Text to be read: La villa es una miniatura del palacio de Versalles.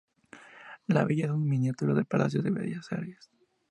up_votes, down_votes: 0, 2